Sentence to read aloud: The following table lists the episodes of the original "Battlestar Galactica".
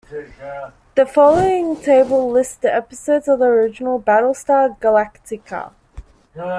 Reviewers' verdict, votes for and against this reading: rejected, 1, 2